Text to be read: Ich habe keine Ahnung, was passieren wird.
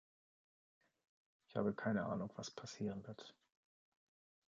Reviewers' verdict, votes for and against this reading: accepted, 2, 0